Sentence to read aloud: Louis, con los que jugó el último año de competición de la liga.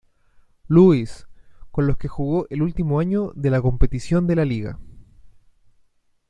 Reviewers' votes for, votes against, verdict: 0, 2, rejected